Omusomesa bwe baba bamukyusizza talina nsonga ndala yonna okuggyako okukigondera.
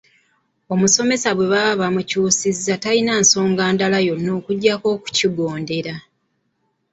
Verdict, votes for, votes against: rejected, 0, 2